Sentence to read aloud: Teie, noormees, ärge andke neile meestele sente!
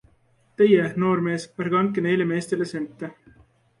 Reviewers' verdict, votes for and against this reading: accepted, 2, 0